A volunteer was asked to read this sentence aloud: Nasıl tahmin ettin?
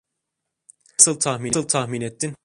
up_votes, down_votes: 0, 2